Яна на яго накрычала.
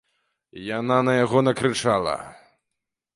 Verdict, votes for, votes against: accepted, 2, 0